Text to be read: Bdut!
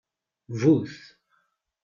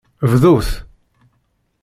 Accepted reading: second